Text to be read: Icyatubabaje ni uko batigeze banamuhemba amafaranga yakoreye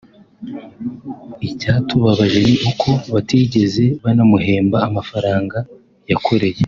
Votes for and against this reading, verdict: 2, 0, accepted